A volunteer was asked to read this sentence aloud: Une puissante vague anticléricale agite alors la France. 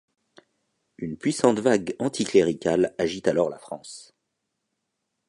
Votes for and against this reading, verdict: 2, 0, accepted